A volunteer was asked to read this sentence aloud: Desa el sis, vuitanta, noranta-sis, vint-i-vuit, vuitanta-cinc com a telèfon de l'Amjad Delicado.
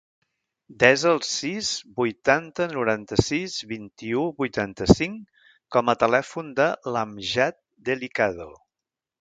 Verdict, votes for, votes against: rejected, 0, 2